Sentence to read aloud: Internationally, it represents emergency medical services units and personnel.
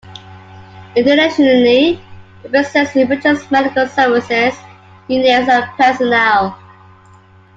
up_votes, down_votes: 0, 2